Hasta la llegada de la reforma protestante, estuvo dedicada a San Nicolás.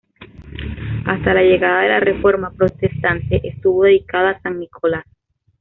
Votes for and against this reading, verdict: 2, 0, accepted